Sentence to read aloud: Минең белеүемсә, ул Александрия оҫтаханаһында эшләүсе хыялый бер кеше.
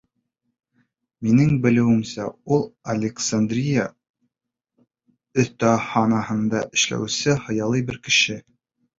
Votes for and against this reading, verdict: 1, 2, rejected